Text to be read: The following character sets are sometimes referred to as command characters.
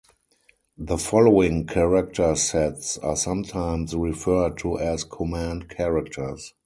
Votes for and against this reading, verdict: 2, 2, rejected